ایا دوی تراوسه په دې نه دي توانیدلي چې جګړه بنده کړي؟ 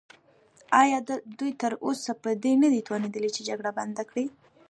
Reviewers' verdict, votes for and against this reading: rejected, 1, 2